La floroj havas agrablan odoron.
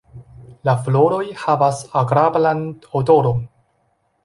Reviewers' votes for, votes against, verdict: 2, 0, accepted